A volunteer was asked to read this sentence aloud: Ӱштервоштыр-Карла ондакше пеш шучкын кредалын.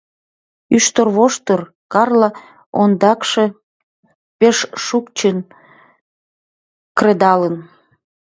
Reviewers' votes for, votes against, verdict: 1, 2, rejected